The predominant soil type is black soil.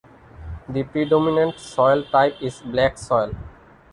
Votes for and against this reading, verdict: 2, 1, accepted